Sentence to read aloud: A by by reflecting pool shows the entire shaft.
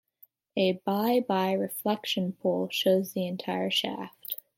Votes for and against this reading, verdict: 0, 2, rejected